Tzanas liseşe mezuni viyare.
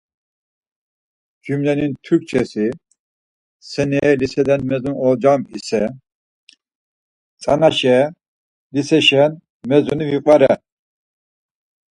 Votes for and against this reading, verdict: 0, 4, rejected